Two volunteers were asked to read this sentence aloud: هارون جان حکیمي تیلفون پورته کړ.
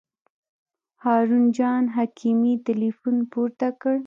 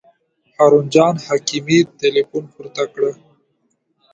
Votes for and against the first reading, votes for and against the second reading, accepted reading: 2, 0, 1, 3, first